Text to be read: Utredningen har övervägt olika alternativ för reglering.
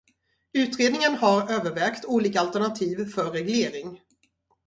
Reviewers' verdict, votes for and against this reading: rejected, 0, 2